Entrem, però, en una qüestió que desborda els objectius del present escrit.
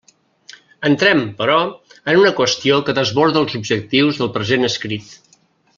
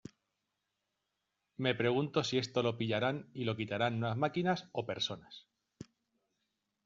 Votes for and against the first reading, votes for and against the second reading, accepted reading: 3, 0, 0, 2, first